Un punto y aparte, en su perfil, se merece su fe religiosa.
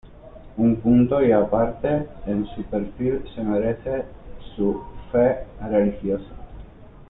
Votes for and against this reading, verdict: 2, 0, accepted